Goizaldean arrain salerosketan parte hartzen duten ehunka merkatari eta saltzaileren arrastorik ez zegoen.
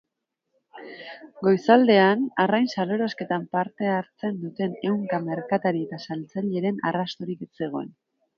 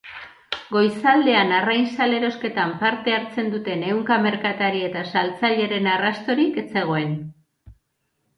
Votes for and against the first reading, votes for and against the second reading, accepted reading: 1, 2, 2, 0, second